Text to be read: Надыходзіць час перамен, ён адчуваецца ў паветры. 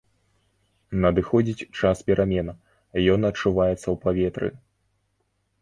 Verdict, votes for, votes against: rejected, 1, 2